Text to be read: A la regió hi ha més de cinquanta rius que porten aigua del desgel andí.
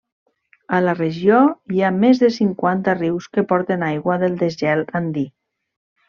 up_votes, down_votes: 2, 0